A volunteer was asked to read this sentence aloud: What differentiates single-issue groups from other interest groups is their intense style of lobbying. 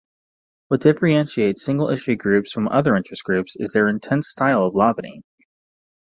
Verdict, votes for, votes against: rejected, 1, 2